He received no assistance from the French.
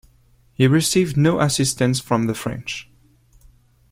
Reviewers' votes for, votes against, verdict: 2, 0, accepted